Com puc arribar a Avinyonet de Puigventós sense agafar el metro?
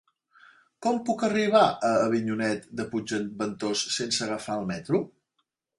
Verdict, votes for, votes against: rejected, 0, 2